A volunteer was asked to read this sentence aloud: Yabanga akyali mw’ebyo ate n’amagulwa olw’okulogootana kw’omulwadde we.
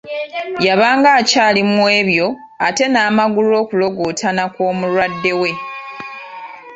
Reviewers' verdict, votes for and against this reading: rejected, 1, 2